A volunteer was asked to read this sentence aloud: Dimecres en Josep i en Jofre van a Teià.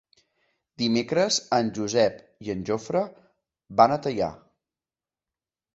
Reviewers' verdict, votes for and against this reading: accepted, 3, 0